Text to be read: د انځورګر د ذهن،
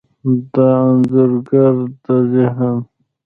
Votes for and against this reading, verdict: 0, 2, rejected